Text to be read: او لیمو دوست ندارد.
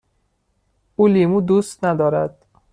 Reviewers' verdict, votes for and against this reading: accepted, 2, 0